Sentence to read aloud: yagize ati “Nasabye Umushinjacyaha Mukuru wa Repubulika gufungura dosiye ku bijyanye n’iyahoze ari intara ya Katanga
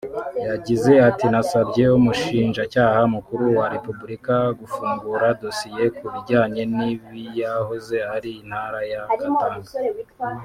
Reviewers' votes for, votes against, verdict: 0, 2, rejected